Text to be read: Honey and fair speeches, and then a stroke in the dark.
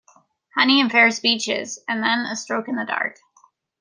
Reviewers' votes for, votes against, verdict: 2, 1, accepted